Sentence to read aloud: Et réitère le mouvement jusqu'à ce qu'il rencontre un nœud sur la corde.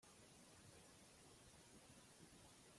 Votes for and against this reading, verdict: 0, 2, rejected